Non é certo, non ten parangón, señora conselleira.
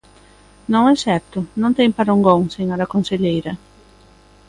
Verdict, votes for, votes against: accepted, 2, 0